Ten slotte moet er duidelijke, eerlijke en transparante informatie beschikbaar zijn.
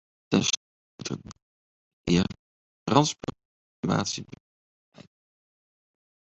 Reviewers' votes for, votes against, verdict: 0, 2, rejected